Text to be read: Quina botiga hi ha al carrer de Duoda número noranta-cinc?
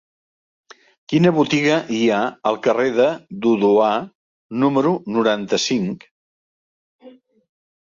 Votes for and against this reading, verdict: 0, 2, rejected